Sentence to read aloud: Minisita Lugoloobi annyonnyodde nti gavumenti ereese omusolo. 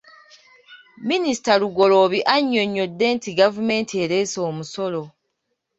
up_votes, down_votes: 2, 0